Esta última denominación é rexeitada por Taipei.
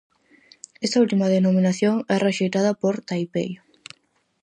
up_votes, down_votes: 2, 2